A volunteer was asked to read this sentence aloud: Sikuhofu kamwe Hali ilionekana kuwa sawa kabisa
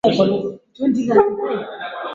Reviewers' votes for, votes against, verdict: 0, 2, rejected